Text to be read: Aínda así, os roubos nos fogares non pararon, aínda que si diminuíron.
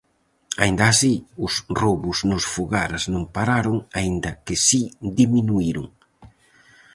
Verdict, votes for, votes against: accepted, 4, 0